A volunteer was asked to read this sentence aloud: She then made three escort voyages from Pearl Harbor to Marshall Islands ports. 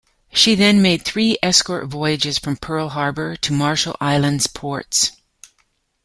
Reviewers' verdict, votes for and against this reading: accepted, 2, 0